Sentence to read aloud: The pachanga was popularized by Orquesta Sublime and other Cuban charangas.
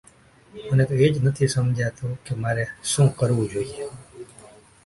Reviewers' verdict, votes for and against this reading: rejected, 0, 2